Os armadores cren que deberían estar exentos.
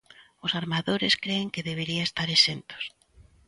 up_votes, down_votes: 0, 3